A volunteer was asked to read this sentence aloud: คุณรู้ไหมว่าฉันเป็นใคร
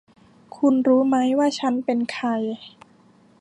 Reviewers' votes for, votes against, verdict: 2, 0, accepted